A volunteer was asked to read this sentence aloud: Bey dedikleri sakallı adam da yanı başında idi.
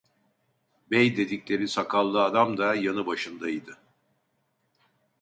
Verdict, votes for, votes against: accepted, 2, 0